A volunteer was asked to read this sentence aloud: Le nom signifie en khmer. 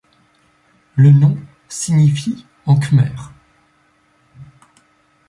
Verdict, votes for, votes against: accepted, 2, 0